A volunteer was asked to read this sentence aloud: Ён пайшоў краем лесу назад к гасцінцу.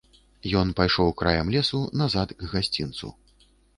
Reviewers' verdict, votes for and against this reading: accepted, 2, 0